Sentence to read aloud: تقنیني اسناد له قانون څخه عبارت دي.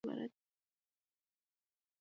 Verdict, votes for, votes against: accepted, 2, 0